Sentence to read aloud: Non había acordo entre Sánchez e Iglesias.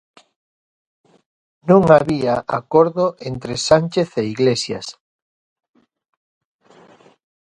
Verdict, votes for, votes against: accepted, 2, 0